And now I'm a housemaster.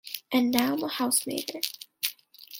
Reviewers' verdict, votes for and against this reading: accepted, 2, 0